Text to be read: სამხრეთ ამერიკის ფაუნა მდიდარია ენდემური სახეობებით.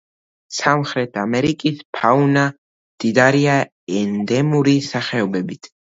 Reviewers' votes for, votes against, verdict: 1, 2, rejected